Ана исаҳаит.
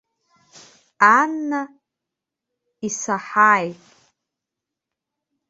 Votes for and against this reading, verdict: 0, 2, rejected